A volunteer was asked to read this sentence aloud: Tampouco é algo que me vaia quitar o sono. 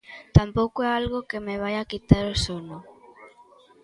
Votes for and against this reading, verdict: 0, 2, rejected